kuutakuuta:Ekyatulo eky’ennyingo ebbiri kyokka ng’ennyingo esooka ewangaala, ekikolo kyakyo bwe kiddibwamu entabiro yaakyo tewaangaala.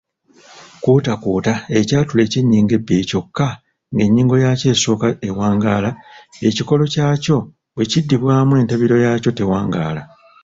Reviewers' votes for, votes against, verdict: 0, 2, rejected